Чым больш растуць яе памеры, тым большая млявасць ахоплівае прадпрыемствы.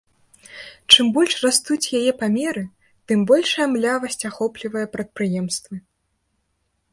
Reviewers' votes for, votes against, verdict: 2, 0, accepted